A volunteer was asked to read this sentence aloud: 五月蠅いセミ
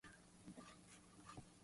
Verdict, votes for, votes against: rejected, 0, 2